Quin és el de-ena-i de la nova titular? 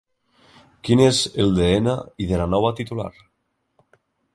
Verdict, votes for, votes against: rejected, 0, 3